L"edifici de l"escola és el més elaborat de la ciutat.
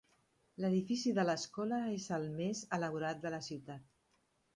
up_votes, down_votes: 1, 2